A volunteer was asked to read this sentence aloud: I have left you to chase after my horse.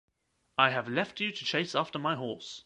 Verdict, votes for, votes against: accepted, 2, 0